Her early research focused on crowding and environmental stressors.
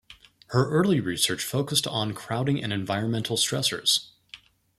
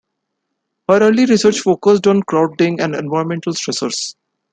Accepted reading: first